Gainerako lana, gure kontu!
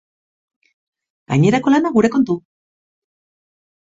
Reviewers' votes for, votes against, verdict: 2, 0, accepted